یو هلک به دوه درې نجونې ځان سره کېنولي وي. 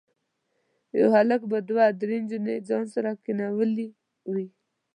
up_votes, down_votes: 2, 0